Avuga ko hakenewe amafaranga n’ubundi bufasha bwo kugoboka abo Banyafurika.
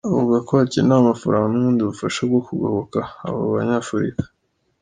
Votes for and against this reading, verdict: 2, 0, accepted